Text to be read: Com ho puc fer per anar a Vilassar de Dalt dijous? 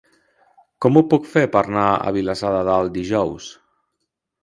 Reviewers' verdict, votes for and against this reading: rejected, 0, 2